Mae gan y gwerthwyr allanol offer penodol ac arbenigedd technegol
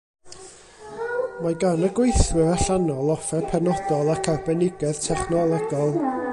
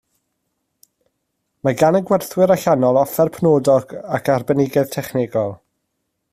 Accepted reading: second